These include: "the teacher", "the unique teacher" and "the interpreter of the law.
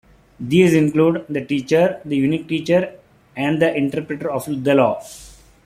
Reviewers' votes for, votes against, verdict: 2, 0, accepted